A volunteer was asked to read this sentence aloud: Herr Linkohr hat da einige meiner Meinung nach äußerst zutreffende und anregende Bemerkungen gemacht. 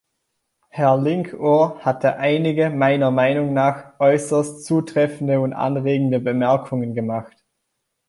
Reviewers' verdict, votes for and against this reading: accepted, 2, 0